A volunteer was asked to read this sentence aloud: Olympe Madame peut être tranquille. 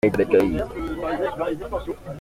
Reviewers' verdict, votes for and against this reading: rejected, 0, 2